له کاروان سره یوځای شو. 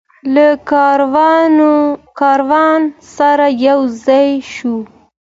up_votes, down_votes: 2, 0